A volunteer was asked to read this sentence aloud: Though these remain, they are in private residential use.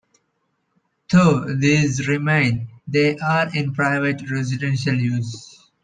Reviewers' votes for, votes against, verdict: 2, 0, accepted